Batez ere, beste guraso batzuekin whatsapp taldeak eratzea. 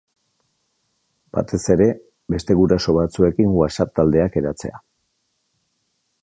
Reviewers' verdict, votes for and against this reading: accepted, 2, 0